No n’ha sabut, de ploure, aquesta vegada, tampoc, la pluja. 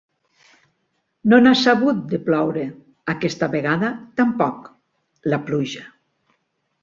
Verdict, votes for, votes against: accepted, 2, 0